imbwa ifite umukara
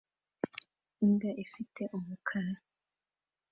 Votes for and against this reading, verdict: 2, 1, accepted